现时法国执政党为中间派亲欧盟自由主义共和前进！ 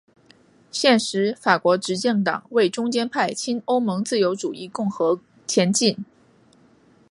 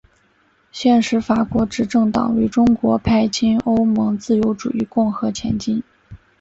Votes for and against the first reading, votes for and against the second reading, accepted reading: 5, 2, 1, 2, first